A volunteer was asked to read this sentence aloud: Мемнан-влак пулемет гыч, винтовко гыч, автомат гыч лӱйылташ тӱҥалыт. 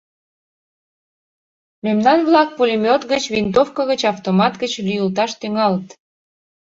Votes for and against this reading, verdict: 2, 0, accepted